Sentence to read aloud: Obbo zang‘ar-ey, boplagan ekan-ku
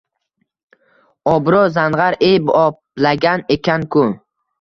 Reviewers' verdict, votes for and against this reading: accepted, 2, 0